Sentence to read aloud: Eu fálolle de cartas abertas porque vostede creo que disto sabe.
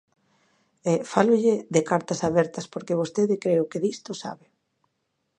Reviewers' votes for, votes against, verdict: 1, 2, rejected